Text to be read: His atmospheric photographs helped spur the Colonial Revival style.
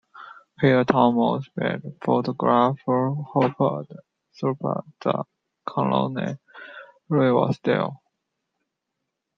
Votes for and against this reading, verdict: 1, 2, rejected